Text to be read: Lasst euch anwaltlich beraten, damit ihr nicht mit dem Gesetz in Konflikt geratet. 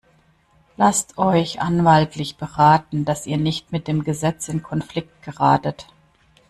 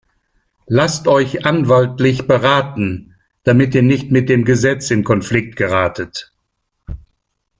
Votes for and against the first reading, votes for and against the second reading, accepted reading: 0, 2, 2, 0, second